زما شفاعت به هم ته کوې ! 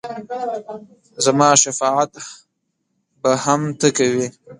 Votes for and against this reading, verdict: 1, 2, rejected